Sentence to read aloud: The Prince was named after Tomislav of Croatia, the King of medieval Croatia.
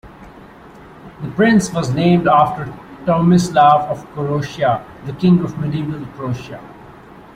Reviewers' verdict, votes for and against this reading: accepted, 2, 0